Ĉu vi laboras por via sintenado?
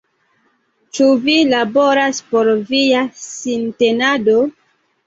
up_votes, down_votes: 1, 2